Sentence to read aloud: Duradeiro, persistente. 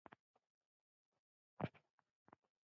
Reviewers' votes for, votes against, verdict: 0, 2, rejected